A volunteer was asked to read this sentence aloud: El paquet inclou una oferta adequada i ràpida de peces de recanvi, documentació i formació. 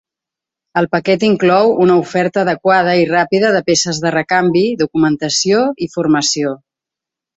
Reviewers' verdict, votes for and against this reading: accepted, 4, 0